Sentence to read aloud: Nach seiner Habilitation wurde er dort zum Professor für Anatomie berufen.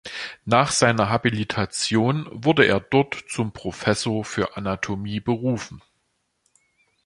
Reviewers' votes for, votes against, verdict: 2, 1, accepted